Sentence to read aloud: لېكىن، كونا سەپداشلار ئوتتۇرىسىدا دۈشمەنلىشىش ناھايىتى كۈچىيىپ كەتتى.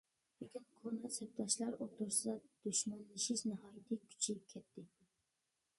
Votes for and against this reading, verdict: 1, 2, rejected